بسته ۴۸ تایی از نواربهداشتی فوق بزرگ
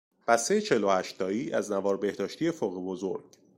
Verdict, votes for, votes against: rejected, 0, 2